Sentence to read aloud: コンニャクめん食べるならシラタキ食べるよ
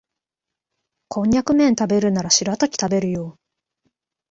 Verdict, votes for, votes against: accepted, 2, 0